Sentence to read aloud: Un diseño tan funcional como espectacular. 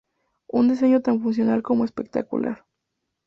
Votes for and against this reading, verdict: 2, 0, accepted